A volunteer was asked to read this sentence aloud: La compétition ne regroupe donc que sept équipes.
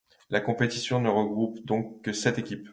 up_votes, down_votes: 2, 0